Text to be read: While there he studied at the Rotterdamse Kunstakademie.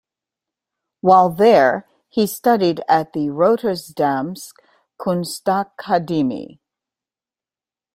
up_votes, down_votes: 1, 2